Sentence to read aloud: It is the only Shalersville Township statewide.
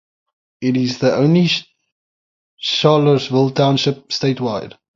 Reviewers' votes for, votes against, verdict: 0, 3, rejected